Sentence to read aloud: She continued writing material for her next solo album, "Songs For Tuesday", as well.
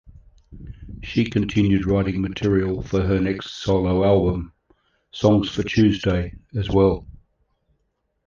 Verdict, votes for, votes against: accepted, 3, 1